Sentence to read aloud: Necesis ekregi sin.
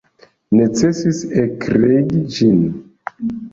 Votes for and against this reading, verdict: 0, 2, rejected